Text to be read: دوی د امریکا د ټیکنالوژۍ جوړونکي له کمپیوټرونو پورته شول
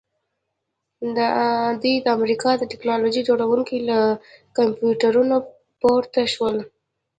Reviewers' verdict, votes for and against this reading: accepted, 2, 0